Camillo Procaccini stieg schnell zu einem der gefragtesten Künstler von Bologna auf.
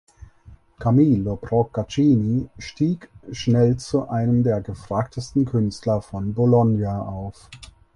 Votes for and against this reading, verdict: 4, 0, accepted